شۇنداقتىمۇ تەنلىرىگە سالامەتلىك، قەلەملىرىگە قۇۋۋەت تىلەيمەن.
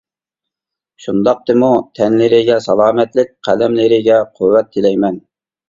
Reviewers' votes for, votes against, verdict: 2, 0, accepted